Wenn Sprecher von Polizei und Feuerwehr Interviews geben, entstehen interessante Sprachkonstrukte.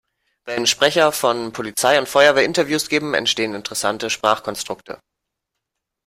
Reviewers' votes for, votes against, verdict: 2, 0, accepted